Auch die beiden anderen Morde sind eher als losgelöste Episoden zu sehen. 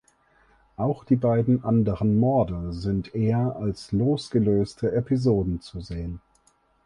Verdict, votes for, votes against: accepted, 4, 0